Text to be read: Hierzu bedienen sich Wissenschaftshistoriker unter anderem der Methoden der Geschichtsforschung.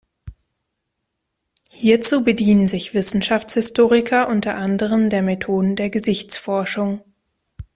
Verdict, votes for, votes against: rejected, 0, 2